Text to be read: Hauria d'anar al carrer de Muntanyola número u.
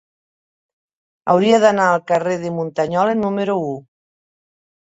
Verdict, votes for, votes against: accepted, 3, 1